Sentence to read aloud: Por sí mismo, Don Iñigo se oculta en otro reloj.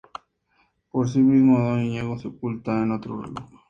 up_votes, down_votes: 0, 2